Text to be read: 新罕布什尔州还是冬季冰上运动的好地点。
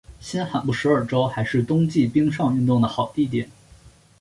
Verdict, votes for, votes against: accepted, 2, 1